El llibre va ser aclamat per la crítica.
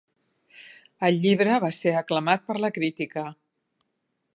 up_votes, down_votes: 2, 0